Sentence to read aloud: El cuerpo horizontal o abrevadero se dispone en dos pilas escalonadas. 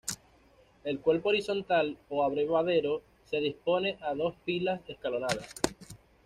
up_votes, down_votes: 1, 2